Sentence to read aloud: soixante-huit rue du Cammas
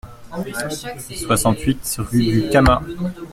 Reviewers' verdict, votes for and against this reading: rejected, 1, 2